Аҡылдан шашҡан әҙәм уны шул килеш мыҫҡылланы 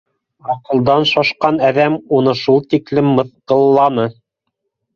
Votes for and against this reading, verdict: 0, 2, rejected